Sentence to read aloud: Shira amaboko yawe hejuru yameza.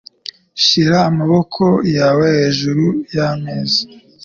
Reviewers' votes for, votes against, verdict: 2, 0, accepted